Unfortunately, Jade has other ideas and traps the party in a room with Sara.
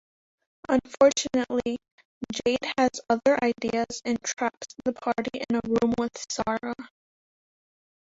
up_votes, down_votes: 1, 2